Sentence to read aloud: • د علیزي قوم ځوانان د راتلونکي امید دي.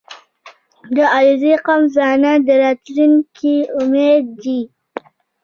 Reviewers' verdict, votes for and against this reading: rejected, 0, 2